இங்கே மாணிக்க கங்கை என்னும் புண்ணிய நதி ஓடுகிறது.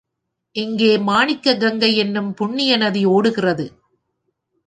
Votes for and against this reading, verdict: 3, 0, accepted